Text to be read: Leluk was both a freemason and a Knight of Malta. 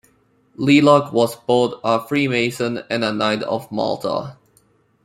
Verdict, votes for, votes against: accepted, 2, 0